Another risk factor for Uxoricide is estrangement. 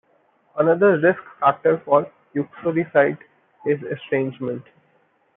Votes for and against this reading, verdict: 1, 2, rejected